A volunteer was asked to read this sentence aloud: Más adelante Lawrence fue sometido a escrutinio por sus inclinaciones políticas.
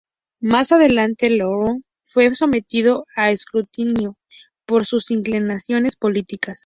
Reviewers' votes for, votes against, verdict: 0, 2, rejected